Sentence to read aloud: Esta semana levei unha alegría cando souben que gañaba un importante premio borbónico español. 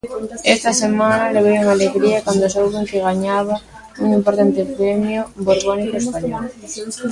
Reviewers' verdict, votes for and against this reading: rejected, 0, 2